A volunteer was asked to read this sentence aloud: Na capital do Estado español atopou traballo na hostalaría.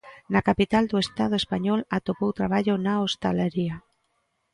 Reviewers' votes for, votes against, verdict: 2, 1, accepted